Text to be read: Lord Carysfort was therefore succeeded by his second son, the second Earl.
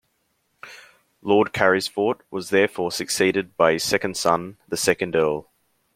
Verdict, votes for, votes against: accepted, 2, 0